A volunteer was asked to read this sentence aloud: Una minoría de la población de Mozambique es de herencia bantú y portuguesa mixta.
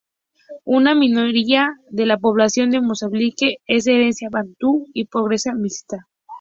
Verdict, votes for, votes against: rejected, 0, 2